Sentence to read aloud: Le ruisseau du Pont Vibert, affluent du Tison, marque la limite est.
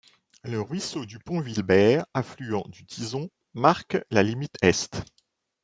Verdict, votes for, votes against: rejected, 0, 2